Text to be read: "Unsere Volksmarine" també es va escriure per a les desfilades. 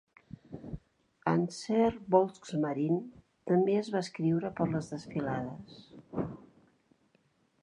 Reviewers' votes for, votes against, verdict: 0, 2, rejected